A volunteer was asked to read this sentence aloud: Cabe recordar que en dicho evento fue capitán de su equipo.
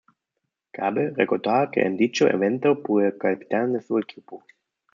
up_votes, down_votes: 1, 2